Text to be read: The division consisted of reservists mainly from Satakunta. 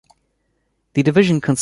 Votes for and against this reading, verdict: 0, 2, rejected